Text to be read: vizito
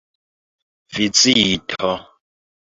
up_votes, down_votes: 1, 2